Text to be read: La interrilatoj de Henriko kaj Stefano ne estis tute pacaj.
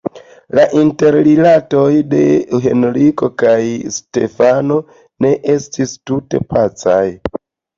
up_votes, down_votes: 2, 0